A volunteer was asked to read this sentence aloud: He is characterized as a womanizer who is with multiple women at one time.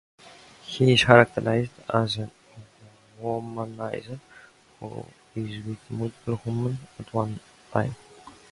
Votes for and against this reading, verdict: 0, 2, rejected